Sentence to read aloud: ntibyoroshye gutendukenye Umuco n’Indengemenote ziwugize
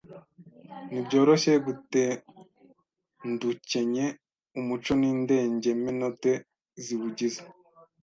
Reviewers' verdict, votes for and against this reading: rejected, 1, 2